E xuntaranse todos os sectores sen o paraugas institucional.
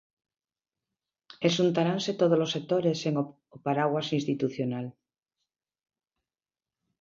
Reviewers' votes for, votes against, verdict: 0, 2, rejected